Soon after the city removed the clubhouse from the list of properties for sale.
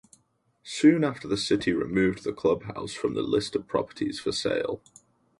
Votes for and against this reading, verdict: 4, 0, accepted